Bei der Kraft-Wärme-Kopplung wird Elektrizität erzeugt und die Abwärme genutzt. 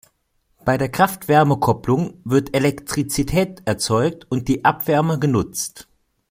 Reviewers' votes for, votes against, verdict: 2, 0, accepted